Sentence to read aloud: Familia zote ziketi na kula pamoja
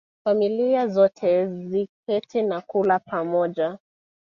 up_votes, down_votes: 2, 0